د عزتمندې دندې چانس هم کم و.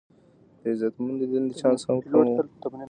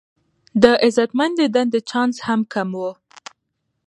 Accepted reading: second